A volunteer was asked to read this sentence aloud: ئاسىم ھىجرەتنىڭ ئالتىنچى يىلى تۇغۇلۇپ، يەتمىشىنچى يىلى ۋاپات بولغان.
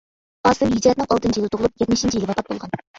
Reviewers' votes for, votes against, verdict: 0, 2, rejected